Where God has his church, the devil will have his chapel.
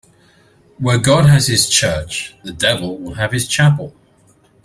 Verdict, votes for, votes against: accepted, 2, 0